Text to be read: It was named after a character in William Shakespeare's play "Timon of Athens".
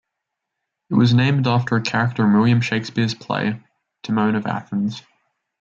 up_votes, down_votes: 1, 2